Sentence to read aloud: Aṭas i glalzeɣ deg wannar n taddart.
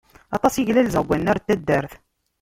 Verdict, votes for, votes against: rejected, 0, 2